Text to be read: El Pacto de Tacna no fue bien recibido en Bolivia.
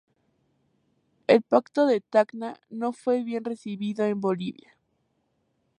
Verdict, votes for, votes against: accepted, 2, 0